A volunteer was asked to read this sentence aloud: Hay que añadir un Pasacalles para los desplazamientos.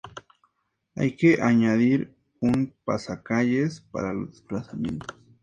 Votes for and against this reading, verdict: 2, 0, accepted